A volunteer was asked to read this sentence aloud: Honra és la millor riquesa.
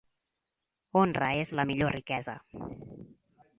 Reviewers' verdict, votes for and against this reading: accepted, 2, 0